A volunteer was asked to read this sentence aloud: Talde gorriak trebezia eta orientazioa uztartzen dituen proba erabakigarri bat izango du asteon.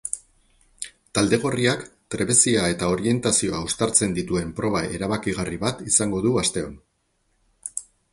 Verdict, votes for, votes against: rejected, 2, 2